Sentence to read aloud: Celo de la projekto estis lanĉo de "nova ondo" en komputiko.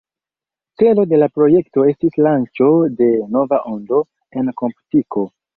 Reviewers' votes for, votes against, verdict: 0, 2, rejected